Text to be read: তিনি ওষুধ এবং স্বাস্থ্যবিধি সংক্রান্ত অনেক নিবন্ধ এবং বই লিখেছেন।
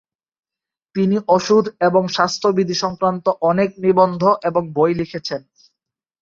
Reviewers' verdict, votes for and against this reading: accepted, 3, 0